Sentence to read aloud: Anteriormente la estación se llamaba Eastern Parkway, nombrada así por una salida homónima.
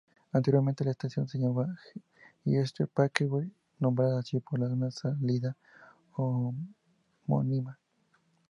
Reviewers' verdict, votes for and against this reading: accepted, 2, 0